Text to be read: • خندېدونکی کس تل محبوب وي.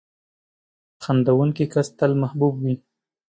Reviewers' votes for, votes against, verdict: 2, 1, accepted